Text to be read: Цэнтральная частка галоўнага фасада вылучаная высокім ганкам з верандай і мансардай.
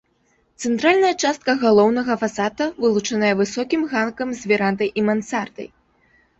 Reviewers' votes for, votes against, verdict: 2, 0, accepted